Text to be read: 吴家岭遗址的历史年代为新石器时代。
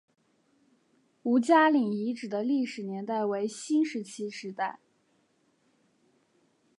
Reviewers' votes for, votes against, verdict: 2, 0, accepted